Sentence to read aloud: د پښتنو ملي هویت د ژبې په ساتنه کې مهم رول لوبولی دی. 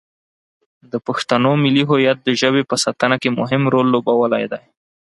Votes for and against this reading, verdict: 4, 0, accepted